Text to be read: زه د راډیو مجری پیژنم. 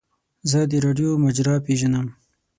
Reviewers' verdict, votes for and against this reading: rejected, 3, 6